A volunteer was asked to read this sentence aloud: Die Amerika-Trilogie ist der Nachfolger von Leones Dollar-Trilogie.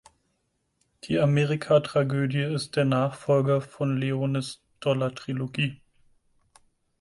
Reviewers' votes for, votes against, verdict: 2, 4, rejected